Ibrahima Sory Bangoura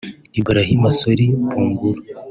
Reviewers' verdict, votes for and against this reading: accepted, 2, 0